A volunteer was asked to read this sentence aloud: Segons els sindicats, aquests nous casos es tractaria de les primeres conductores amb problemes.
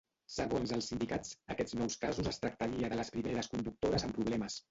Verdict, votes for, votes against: rejected, 1, 2